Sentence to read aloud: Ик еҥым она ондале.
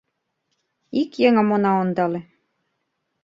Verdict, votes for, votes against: accepted, 2, 0